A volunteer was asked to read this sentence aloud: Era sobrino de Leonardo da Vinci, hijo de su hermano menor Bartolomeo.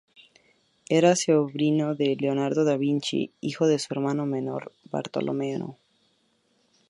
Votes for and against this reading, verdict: 0, 2, rejected